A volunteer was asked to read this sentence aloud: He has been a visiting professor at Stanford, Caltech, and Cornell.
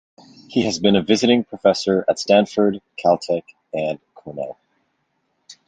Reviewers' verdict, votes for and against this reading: accepted, 2, 0